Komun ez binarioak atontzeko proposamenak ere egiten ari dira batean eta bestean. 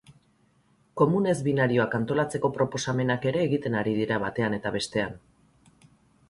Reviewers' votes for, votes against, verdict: 0, 2, rejected